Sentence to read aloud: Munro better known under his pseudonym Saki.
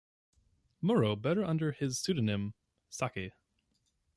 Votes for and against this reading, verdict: 2, 0, accepted